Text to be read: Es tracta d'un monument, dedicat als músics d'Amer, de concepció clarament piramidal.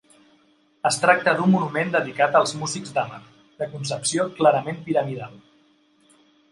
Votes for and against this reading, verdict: 0, 2, rejected